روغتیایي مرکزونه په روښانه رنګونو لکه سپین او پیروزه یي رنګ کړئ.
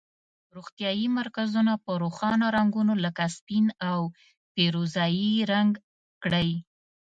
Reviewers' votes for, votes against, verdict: 2, 0, accepted